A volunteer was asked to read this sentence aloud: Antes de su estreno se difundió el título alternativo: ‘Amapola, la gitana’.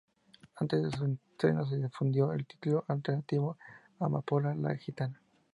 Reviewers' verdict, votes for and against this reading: rejected, 0, 2